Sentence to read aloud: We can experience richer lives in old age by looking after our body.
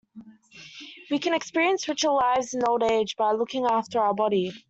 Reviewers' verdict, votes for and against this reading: accepted, 2, 0